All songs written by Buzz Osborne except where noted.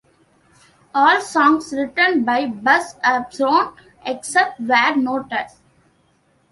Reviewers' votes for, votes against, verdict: 1, 2, rejected